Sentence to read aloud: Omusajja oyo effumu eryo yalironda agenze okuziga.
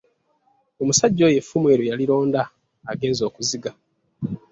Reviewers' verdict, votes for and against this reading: accepted, 2, 0